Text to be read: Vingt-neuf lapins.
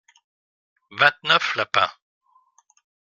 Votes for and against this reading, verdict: 2, 0, accepted